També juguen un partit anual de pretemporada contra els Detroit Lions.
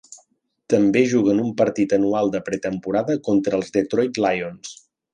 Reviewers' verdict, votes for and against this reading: accepted, 3, 0